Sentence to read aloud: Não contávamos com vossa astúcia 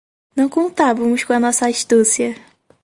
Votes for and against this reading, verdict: 0, 4, rejected